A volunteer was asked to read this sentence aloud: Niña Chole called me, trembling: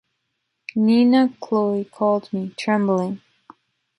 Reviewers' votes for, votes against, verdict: 2, 1, accepted